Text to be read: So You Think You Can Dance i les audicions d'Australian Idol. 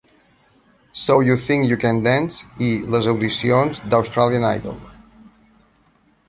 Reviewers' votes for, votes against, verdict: 0, 2, rejected